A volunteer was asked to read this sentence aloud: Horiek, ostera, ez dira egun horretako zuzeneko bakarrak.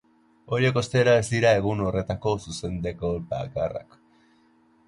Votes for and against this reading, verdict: 0, 2, rejected